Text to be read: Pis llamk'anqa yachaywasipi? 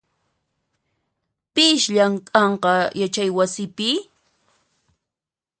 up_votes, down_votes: 2, 0